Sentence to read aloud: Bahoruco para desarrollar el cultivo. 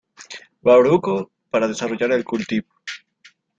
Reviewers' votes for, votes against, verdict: 0, 2, rejected